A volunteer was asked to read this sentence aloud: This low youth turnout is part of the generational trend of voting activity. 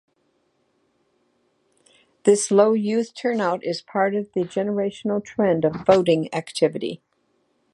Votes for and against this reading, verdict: 2, 0, accepted